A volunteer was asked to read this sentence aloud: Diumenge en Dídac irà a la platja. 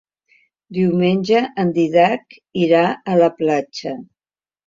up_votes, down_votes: 1, 2